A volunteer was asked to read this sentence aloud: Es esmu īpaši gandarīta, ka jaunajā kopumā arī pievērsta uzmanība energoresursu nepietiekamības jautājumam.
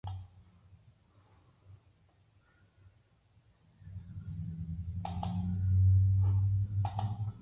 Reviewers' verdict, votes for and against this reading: rejected, 0, 2